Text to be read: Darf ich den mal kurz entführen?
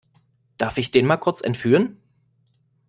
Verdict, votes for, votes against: accepted, 2, 0